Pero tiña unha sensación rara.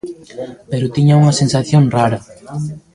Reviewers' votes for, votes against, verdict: 2, 1, accepted